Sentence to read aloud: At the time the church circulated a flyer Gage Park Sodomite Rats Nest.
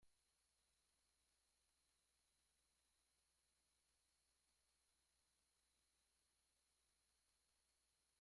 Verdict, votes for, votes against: rejected, 0, 2